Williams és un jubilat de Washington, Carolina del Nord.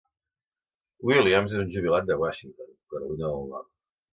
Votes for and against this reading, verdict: 2, 0, accepted